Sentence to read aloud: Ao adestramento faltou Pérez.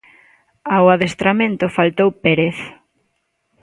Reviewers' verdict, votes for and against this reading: accepted, 2, 0